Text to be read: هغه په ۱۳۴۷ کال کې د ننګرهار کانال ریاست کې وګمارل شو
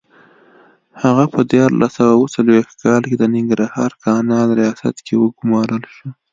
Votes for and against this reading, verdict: 0, 2, rejected